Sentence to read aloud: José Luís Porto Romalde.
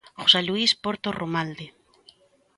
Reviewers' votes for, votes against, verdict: 3, 0, accepted